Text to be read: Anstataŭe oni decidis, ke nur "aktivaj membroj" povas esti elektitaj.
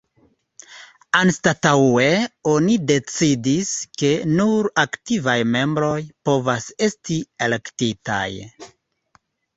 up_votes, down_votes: 0, 2